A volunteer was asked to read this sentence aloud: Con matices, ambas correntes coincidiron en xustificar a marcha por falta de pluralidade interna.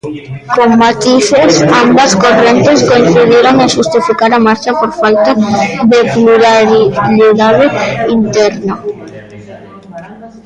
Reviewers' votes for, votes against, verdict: 0, 2, rejected